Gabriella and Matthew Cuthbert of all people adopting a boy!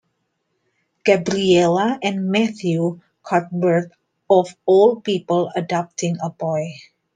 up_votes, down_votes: 1, 2